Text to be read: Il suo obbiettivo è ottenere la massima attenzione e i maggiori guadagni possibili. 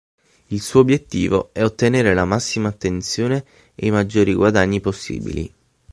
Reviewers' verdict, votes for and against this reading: accepted, 6, 0